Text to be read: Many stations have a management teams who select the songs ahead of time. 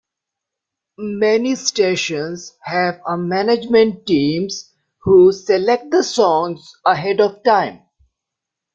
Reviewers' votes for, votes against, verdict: 2, 0, accepted